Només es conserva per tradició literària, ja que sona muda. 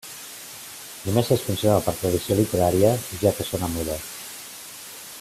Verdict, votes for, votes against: accepted, 2, 1